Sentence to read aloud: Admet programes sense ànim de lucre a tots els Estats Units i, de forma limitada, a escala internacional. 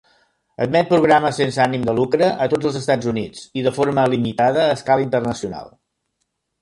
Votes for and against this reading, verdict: 3, 0, accepted